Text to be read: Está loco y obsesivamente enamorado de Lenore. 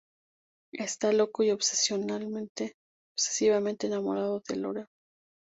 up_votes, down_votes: 0, 2